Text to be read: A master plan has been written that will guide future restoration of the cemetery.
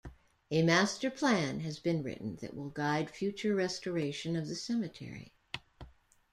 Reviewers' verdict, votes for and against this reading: accepted, 2, 0